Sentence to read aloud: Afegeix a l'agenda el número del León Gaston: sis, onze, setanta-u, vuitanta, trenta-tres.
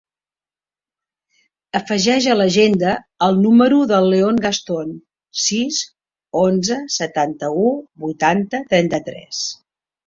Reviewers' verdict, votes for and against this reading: accepted, 3, 0